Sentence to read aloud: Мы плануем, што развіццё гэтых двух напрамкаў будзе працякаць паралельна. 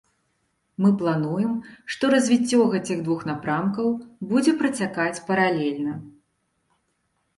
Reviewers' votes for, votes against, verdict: 0, 2, rejected